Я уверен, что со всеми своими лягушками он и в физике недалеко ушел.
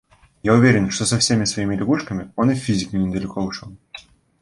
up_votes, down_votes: 1, 2